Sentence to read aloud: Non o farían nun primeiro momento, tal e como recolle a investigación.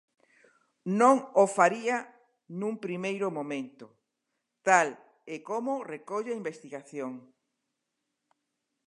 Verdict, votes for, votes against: rejected, 0, 2